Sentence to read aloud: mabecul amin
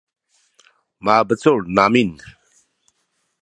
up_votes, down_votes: 0, 2